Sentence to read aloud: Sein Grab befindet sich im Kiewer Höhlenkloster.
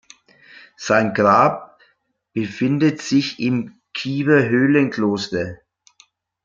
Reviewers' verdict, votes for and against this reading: accepted, 2, 0